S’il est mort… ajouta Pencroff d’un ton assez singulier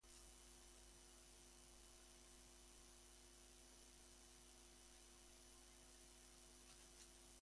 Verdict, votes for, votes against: rejected, 0, 2